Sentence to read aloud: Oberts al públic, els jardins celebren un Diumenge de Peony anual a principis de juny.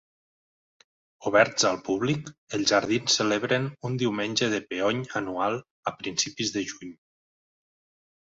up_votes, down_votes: 3, 0